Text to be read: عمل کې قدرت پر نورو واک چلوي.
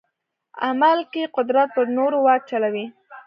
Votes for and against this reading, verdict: 2, 0, accepted